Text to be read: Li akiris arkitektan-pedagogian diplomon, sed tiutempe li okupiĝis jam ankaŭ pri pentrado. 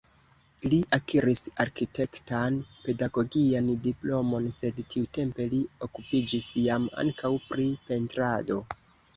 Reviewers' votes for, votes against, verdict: 4, 0, accepted